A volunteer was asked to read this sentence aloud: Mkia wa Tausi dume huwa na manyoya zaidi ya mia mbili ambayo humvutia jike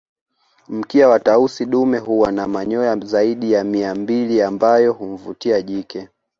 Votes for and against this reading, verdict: 2, 0, accepted